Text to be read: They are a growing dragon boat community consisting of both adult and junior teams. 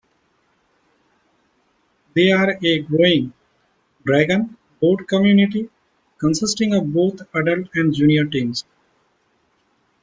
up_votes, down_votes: 2, 1